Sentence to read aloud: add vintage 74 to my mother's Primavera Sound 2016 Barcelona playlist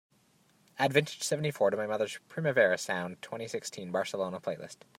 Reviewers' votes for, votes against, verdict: 0, 2, rejected